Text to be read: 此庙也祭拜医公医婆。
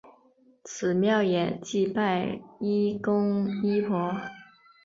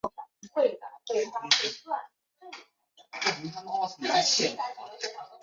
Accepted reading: first